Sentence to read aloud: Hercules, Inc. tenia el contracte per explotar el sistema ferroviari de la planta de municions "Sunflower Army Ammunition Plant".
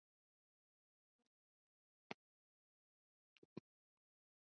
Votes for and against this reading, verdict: 0, 2, rejected